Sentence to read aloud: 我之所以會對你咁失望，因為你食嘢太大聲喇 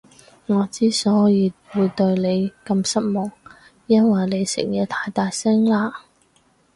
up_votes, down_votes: 2, 2